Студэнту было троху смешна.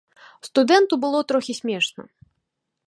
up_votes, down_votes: 1, 2